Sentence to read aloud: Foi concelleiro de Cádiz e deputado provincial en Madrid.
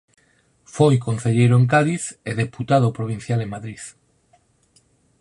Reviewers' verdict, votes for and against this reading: rejected, 0, 4